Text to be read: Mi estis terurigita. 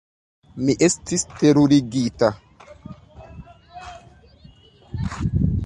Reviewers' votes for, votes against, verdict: 2, 1, accepted